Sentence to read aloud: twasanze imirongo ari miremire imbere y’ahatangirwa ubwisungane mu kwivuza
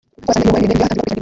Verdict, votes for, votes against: rejected, 0, 2